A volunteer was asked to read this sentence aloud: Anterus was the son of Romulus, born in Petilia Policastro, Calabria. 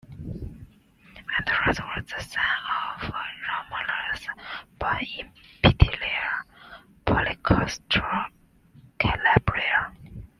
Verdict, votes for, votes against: rejected, 1, 2